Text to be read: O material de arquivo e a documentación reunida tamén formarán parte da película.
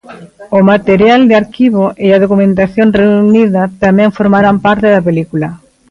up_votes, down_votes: 0, 2